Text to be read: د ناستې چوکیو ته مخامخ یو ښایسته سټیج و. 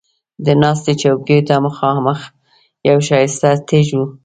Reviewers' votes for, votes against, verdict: 2, 3, rejected